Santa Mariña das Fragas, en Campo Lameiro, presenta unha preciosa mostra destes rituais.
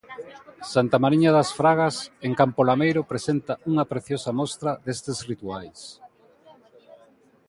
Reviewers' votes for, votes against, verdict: 2, 0, accepted